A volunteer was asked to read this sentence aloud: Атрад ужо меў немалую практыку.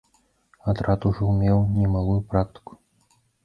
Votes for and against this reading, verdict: 0, 2, rejected